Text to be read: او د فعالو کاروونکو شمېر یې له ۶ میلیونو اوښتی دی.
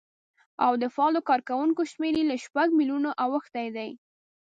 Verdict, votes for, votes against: rejected, 0, 2